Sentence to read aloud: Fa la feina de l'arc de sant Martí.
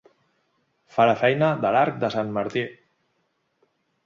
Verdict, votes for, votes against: accepted, 3, 0